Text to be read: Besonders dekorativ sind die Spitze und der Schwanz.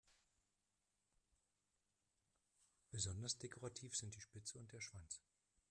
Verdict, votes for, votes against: rejected, 0, 2